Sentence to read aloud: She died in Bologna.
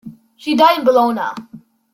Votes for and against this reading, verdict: 2, 1, accepted